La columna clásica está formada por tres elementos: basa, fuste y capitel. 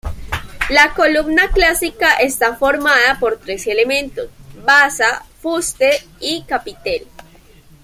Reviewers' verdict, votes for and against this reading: accepted, 2, 0